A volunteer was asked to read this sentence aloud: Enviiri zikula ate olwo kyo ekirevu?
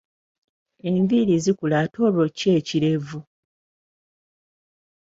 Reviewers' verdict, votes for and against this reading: accepted, 2, 0